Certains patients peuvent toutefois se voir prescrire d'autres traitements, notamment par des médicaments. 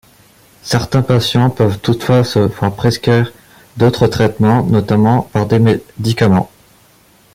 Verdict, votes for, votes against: rejected, 1, 2